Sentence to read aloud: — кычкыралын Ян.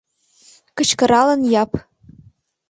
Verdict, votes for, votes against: rejected, 1, 2